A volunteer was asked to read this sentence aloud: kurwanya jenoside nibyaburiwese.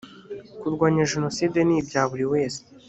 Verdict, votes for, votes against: accepted, 2, 0